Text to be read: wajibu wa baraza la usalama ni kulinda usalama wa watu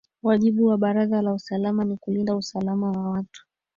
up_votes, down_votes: 2, 1